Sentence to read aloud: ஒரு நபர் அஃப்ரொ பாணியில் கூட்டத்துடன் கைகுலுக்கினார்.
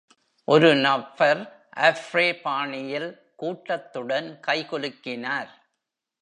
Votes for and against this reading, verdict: 2, 0, accepted